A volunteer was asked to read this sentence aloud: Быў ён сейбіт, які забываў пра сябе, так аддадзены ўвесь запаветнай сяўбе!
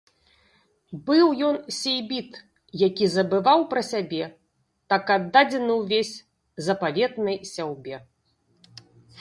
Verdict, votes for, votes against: rejected, 1, 2